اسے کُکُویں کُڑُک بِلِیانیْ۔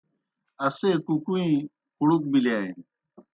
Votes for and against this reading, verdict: 2, 0, accepted